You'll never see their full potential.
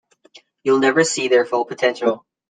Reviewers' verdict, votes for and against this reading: accepted, 2, 0